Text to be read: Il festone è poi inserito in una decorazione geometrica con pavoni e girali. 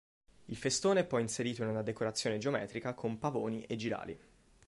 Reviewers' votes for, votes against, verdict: 2, 0, accepted